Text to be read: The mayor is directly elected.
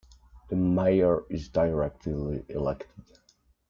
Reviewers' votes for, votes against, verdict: 1, 2, rejected